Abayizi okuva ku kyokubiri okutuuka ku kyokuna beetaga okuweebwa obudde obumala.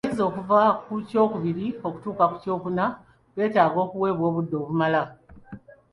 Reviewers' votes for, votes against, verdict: 2, 0, accepted